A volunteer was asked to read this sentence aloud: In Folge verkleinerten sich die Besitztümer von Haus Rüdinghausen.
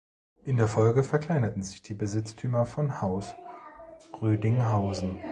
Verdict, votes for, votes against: rejected, 0, 2